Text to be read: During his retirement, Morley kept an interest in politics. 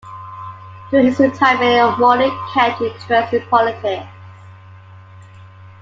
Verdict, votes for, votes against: rejected, 1, 2